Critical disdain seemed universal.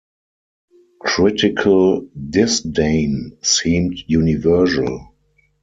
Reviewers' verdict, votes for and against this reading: rejected, 2, 4